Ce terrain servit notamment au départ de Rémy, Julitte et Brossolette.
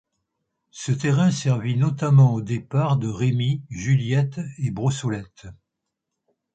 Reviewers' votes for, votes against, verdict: 1, 2, rejected